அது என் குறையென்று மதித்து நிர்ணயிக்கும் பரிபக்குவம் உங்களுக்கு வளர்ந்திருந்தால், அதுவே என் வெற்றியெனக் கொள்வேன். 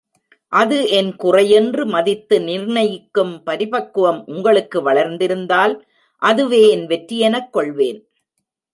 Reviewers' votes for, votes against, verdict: 0, 2, rejected